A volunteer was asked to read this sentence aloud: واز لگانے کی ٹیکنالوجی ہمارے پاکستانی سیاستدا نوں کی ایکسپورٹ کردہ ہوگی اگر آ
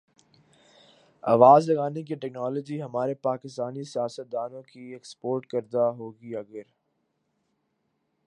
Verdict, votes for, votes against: rejected, 4, 5